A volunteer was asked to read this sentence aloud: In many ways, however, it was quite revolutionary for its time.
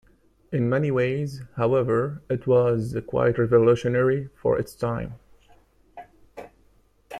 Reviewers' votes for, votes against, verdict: 2, 0, accepted